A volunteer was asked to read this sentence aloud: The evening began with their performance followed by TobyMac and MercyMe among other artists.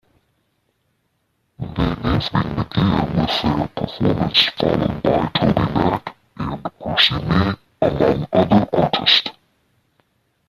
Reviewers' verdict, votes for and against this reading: rejected, 0, 2